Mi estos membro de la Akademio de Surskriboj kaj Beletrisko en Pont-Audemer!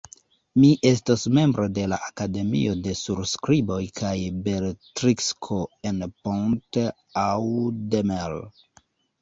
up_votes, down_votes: 1, 2